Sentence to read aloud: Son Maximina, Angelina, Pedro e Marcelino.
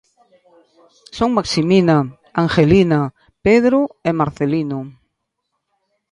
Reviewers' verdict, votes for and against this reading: accepted, 2, 0